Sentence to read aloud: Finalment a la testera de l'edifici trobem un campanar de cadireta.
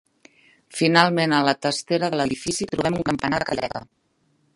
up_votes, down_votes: 1, 2